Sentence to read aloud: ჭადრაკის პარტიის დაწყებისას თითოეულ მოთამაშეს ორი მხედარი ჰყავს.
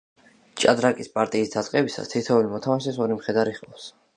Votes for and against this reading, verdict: 2, 0, accepted